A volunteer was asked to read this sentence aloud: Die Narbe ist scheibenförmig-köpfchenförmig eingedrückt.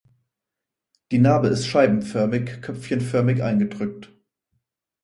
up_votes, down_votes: 4, 0